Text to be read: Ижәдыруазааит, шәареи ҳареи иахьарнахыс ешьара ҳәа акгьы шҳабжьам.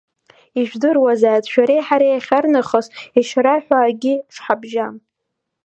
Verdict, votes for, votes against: rejected, 1, 2